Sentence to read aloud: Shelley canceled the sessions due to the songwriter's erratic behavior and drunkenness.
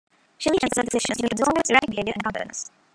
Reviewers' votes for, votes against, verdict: 0, 2, rejected